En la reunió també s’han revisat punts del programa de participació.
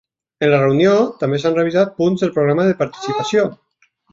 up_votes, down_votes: 4, 1